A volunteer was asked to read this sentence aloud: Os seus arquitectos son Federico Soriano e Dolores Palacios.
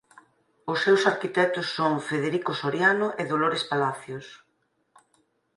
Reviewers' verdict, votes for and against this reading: accepted, 4, 0